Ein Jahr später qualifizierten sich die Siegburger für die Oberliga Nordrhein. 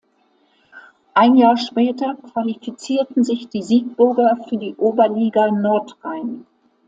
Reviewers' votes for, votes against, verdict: 2, 0, accepted